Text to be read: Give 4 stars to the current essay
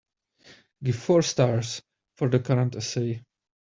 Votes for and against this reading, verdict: 0, 2, rejected